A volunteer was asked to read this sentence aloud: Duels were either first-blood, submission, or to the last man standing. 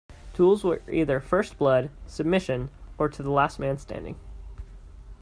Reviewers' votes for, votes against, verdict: 2, 0, accepted